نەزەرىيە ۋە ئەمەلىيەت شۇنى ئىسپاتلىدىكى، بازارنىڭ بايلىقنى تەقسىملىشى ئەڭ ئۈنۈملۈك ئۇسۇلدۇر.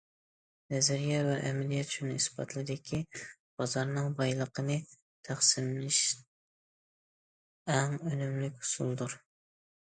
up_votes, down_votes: 0, 2